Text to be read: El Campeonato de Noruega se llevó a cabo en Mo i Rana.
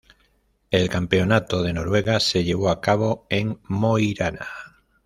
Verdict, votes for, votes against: rejected, 0, 2